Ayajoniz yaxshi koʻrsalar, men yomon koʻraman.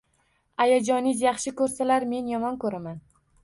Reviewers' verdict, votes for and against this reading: accepted, 2, 0